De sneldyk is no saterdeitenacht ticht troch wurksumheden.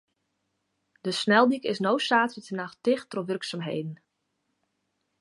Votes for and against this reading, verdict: 2, 0, accepted